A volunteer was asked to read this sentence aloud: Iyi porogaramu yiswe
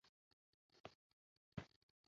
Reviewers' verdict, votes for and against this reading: rejected, 0, 2